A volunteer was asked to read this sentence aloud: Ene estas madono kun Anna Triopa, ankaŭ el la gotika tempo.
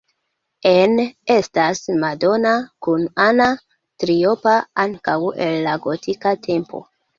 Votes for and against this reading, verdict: 0, 2, rejected